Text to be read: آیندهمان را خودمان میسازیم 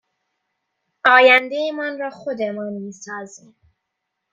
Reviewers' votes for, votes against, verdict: 2, 0, accepted